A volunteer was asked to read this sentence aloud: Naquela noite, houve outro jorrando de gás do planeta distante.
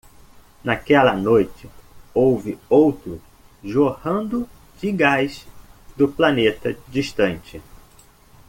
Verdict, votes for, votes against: accepted, 2, 0